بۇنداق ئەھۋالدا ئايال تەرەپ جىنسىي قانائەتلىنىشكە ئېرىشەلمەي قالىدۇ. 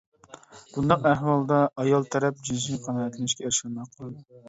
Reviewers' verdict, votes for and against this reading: rejected, 1, 2